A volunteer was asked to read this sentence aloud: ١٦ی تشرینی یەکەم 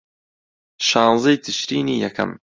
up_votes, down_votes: 0, 2